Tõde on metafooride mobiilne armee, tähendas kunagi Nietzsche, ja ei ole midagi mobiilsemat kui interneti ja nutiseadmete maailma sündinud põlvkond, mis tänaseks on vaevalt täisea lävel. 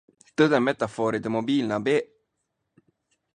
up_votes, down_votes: 0, 2